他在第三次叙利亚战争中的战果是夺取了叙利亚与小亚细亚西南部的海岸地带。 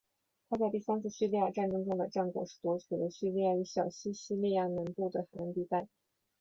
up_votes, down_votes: 2, 0